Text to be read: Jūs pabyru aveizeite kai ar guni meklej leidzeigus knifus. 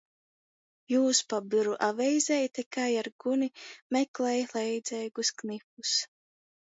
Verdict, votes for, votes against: rejected, 0, 2